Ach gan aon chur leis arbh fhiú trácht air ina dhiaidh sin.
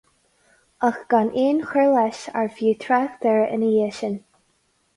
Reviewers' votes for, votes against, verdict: 4, 0, accepted